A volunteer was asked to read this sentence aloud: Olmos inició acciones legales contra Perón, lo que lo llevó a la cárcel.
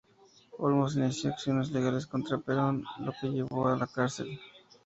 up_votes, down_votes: 0, 2